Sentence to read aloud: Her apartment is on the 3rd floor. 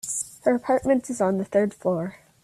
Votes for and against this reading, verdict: 0, 2, rejected